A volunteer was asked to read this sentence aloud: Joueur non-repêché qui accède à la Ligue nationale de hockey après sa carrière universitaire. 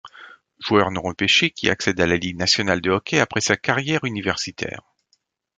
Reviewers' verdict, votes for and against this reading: accepted, 2, 0